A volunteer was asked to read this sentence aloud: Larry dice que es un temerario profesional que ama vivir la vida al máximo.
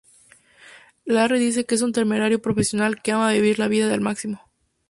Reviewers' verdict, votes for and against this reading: rejected, 0, 2